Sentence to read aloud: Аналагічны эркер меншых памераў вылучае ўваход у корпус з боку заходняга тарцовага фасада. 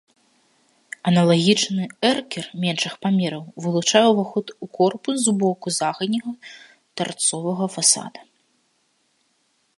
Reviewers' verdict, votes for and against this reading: rejected, 1, 2